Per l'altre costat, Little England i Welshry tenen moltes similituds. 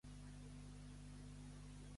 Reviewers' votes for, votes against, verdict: 1, 2, rejected